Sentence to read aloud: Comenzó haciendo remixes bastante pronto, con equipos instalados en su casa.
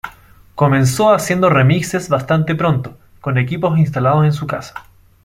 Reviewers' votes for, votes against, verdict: 2, 0, accepted